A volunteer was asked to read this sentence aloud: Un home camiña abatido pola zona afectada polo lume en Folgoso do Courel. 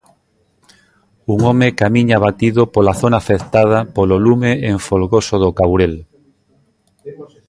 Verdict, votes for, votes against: rejected, 0, 2